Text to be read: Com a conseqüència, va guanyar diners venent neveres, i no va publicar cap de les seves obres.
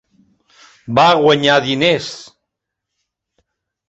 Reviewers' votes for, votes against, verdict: 0, 2, rejected